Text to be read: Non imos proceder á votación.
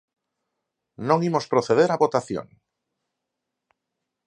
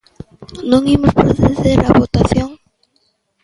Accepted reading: first